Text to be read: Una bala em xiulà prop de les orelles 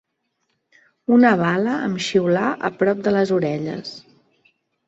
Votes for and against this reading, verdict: 0, 2, rejected